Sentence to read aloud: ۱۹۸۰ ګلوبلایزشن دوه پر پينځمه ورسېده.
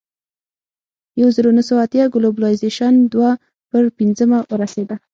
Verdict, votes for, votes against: rejected, 0, 2